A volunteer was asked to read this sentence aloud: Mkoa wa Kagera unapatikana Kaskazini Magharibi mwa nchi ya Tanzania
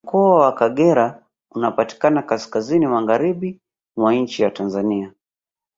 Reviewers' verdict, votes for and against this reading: rejected, 1, 2